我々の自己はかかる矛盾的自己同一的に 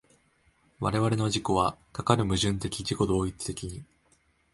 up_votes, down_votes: 2, 0